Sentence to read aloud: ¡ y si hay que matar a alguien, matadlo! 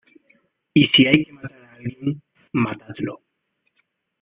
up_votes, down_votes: 0, 2